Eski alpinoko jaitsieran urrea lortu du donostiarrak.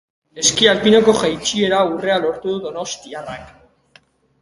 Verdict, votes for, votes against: rejected, 0, 2